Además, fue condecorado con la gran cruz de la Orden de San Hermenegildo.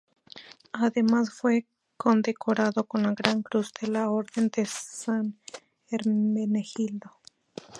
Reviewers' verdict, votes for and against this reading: accepted, 2, 0